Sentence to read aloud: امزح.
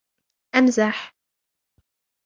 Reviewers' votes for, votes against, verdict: 2, 0, accepted